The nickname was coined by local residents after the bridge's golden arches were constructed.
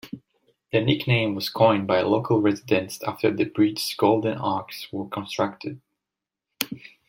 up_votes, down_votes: 0, 2